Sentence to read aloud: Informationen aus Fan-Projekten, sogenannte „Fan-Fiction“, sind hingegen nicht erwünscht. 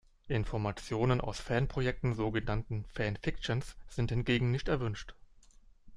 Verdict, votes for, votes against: rejected, 0, 2